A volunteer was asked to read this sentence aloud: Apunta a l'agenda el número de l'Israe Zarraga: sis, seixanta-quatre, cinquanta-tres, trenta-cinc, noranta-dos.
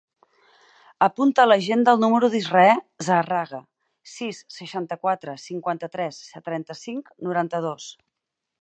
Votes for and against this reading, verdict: 2, 4, rejected